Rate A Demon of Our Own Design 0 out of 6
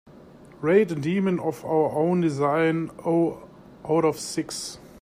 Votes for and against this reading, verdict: 0, 2, rejected